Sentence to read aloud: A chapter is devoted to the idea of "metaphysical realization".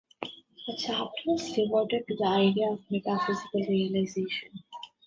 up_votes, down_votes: 0, 2